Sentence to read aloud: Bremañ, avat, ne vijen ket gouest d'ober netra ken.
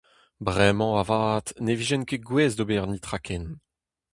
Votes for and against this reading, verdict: 2, 0, accepted